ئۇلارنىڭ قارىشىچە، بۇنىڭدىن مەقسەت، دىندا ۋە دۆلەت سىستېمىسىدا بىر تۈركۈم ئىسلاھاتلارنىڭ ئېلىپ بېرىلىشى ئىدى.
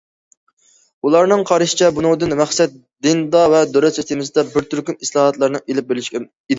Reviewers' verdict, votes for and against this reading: rejected, 0, 2